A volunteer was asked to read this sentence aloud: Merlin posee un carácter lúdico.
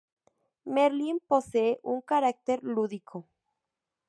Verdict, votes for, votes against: accepted, 2, 0